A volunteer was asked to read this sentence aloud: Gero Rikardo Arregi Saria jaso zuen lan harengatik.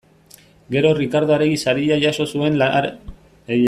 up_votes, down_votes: 1, 2